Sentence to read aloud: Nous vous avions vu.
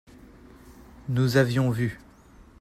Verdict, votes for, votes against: rejected, 0, 2